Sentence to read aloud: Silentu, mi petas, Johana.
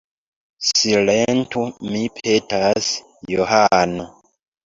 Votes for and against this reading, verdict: 1, 2, rejected